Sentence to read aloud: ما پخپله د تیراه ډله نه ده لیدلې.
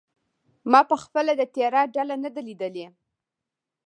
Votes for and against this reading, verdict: 2, 0, accepted